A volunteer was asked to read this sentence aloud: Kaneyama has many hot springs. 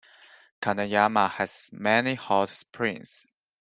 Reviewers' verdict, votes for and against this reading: accepted, 2, 0